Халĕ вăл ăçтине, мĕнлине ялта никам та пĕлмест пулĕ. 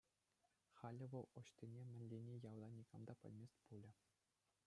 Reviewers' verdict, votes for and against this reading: rejected, 1, 2